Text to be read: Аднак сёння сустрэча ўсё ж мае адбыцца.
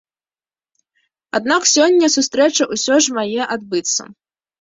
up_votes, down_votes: 0, 2